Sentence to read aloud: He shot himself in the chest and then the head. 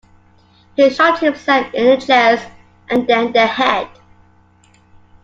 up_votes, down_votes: 2, 0